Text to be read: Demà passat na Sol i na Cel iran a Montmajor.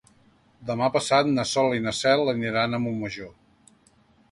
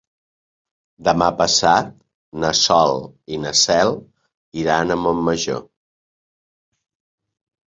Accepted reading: second